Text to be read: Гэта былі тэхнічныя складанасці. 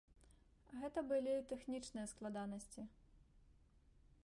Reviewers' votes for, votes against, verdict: 2, 1, accepted